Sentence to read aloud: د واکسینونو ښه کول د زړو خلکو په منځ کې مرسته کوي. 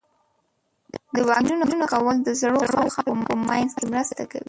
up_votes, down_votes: 0, 3